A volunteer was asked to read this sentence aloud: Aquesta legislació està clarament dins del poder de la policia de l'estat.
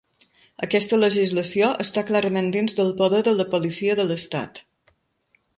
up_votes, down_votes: 1, 2